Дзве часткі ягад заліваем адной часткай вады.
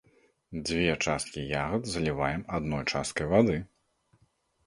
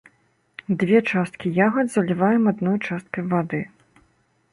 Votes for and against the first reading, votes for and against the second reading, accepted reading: 2, 0, 1, 2, first